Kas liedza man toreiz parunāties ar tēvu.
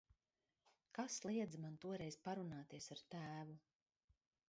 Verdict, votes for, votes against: accepted, 2, 0